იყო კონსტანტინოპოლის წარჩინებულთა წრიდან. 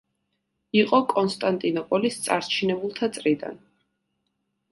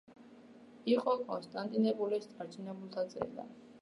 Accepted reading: first